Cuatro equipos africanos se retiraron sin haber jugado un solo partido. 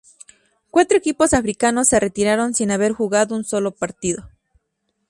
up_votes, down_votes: 2, 0